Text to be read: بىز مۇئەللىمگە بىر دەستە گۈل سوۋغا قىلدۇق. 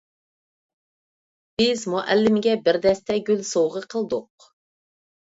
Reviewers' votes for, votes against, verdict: 2, 0, accepted